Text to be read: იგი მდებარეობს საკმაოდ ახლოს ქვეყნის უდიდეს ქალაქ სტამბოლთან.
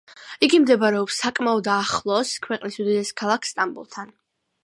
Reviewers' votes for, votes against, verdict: 2, 0, accepted